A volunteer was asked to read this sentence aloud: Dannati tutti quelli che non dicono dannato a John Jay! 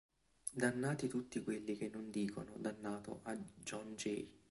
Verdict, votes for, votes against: accepted, 2, 0